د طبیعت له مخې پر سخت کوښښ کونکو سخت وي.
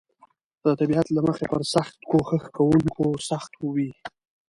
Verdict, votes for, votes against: accepted, 2, 0